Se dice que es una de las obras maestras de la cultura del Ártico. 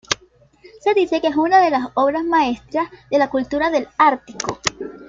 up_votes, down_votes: 0, 2